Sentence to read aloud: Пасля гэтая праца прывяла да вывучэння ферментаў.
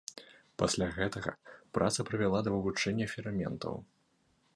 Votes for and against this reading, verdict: 0, 2, rejected